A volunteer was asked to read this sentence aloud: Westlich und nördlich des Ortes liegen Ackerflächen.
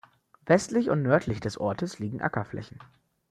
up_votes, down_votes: 2, 0